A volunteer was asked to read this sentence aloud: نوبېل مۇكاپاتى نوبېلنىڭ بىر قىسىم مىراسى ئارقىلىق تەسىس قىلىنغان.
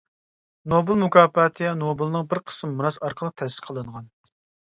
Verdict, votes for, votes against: accepted, 2, 1